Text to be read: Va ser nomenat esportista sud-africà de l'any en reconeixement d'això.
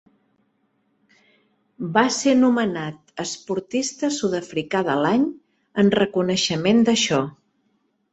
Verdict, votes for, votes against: rejected, 0, 3